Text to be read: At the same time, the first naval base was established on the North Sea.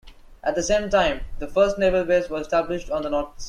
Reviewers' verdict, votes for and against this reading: rejected, 0, 2